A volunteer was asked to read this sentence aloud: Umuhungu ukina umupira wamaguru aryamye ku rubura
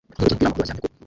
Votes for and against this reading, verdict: 0, 2, rejected